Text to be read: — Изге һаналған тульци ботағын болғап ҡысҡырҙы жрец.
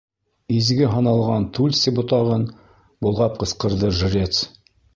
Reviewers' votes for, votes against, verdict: 2, 0, accepted